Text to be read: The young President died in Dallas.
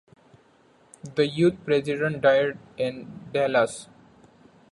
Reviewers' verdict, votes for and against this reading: rejected, 0, 2